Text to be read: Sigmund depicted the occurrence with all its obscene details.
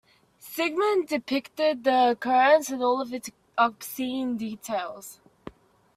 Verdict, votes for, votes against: rejected, 1, 2